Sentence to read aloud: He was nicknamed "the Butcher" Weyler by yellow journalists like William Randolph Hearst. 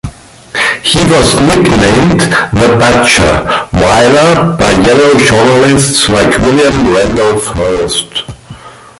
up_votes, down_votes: 2, 0